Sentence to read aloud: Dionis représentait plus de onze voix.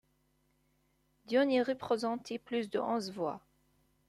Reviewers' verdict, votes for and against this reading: rejected, 1, 2